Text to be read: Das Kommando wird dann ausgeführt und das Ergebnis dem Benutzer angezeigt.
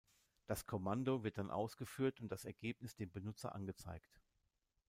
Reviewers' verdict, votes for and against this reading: accepted, 2, 0